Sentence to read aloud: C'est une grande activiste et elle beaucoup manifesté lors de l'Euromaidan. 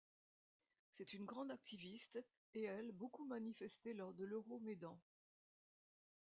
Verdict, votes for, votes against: rejected, 1, 2